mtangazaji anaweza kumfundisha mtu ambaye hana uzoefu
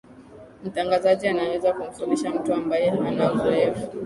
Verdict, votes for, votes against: rejected, 3, 4